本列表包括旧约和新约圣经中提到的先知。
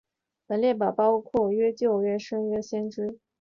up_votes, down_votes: 0, 2